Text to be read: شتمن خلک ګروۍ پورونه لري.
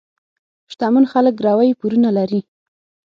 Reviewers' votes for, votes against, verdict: 6, 0, accepted